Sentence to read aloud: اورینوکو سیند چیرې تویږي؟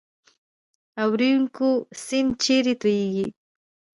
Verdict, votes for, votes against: rejected, 0, 2